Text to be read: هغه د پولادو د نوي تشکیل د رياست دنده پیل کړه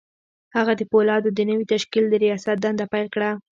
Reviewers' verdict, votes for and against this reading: rejected, 1, 2